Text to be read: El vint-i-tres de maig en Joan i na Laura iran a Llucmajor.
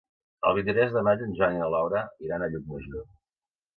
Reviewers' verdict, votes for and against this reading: rejected, 1, 2